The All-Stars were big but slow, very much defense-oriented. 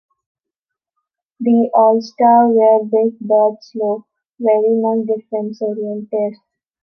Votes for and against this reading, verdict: 0, 2, rejected